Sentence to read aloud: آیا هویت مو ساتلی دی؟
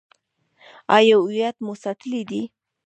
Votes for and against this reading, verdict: 1, 2, rejected